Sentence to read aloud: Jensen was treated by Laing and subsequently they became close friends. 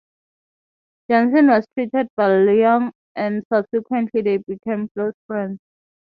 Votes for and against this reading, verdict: 3, 3, rejected